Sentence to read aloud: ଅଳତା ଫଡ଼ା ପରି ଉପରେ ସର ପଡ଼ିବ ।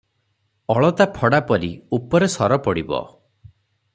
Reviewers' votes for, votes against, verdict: 6, 0, accepted